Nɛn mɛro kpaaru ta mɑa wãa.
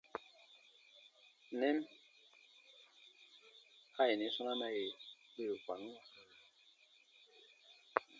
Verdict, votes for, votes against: rejected, 1, 2